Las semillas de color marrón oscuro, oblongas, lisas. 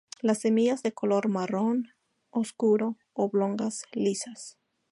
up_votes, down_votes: 2, 0